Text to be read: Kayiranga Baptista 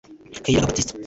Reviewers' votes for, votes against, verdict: 0, 2, rejected